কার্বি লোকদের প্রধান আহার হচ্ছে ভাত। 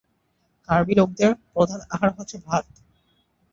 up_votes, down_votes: 0, 2